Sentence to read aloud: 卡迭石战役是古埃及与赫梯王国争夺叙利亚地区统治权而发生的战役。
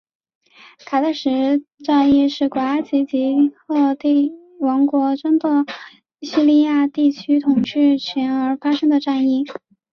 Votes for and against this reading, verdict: 3, 1, accepted